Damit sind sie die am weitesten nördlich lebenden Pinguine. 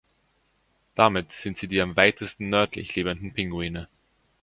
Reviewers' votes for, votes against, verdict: 3, 0, accepted